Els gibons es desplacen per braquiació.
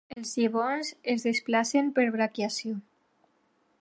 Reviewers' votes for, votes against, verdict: 0, 2, rejected